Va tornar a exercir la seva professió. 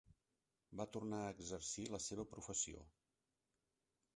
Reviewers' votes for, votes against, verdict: 1, 2, rejected